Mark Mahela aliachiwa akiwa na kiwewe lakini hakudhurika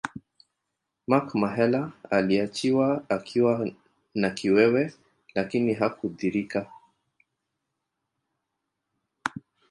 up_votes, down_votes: 2, 1